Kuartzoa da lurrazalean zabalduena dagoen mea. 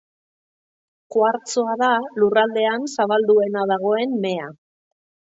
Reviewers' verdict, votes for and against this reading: rejected, 0, 2